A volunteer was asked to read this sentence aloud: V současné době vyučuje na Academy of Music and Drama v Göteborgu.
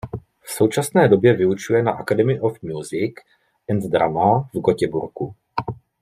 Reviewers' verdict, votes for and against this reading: rejected, 1, 2